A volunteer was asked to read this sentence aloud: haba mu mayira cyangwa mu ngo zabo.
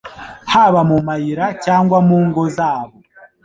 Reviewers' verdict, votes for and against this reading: rejected, 1, 2